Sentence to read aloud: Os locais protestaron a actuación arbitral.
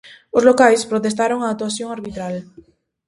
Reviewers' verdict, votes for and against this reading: accepted, 2, 0